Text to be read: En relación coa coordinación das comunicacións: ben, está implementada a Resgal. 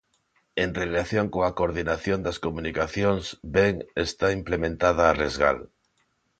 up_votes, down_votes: 2, 0